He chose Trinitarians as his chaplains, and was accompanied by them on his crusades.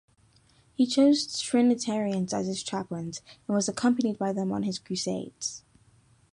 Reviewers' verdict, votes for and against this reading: accepted, 2, 0